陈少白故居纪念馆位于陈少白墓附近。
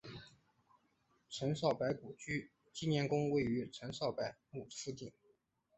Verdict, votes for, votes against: rejected, 0, 4